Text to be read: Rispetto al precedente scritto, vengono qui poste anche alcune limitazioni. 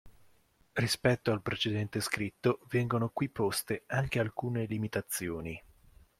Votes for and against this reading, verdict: 2, 0, accepted